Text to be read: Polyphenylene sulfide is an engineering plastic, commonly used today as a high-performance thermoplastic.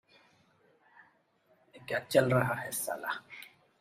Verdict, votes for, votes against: rejected, 0, 2